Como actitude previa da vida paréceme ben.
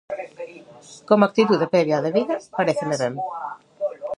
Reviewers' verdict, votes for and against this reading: rejected, 1, 2